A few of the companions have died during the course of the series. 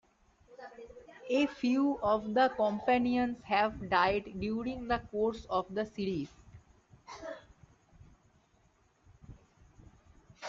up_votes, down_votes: 2, 0